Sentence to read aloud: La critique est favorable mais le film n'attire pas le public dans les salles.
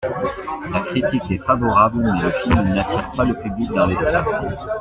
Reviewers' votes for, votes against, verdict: 2, 1, accepted